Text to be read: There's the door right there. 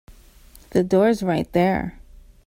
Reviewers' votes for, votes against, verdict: 0, 2, rejected